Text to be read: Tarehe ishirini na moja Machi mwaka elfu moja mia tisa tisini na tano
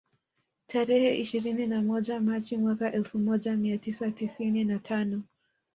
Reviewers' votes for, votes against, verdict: 1, 2, rejected